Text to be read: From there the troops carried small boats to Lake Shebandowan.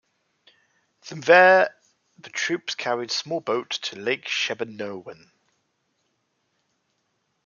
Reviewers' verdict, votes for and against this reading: rejected, 1, 2